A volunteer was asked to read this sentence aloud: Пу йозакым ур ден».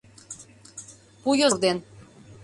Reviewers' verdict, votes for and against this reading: rejected, 0, 2